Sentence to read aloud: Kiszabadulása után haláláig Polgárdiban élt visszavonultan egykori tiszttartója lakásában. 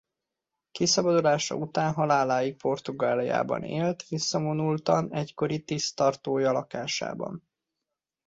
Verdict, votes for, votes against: rejected, 0, 2